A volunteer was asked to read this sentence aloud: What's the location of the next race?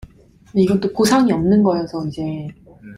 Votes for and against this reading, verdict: 0, 2, rejected